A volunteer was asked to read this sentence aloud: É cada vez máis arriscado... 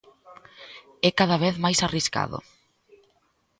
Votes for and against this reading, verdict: 2, 0, accepted